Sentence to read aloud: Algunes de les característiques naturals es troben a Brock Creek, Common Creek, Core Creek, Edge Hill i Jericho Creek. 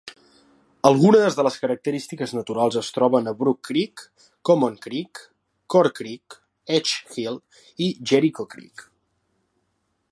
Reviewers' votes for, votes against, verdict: 3, 0, accepted